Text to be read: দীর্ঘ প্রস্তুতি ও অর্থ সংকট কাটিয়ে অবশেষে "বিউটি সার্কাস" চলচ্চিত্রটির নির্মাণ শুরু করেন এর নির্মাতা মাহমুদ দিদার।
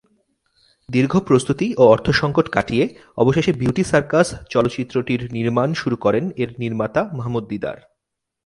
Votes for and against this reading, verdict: 2, 0, accepted